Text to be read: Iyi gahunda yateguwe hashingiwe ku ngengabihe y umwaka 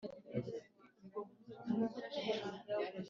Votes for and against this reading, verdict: 1, 2, rejected